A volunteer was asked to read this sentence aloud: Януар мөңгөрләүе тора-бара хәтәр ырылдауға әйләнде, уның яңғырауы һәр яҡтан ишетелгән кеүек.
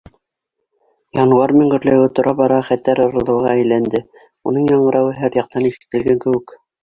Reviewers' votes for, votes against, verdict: 1, 2, rejected